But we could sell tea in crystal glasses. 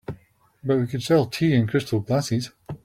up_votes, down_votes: 1, 2